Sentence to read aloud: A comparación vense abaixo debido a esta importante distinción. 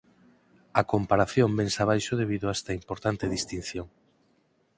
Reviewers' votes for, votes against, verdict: 8, 0, accepted